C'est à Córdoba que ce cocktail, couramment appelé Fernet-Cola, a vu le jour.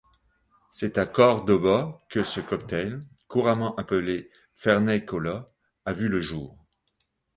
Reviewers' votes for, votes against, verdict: 2, 0, accepted